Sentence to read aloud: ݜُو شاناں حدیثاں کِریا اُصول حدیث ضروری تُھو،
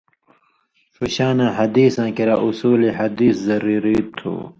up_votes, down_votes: 2, 0